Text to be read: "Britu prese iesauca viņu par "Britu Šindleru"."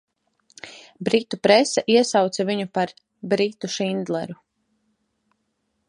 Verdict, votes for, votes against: accepted, 2, 0